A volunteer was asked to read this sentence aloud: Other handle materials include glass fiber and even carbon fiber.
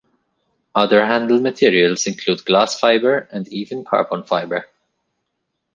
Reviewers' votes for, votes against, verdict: 2, 0, accepted